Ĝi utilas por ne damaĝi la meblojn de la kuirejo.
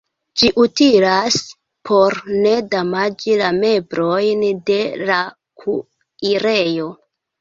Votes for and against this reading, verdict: 0, 2, rejected